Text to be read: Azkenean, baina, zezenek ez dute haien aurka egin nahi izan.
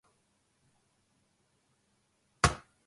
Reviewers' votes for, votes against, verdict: 0, 6, rejected